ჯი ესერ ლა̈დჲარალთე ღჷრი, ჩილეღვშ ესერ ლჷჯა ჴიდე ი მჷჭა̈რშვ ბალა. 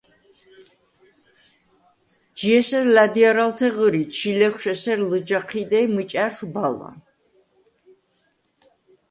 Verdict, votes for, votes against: accepted, 2, 0